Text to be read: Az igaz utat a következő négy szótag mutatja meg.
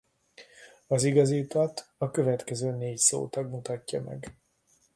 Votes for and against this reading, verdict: 0, 2, rejected